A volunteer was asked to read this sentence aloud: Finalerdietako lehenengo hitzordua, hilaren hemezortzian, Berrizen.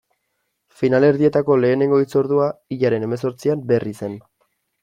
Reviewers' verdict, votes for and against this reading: accepted, 2, 0